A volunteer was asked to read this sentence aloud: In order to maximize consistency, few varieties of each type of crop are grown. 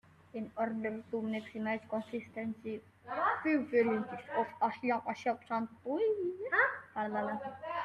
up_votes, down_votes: 0, 2